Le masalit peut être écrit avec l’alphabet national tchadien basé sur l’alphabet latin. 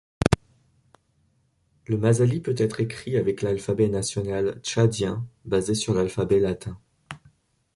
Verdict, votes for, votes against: accepted, 2, 0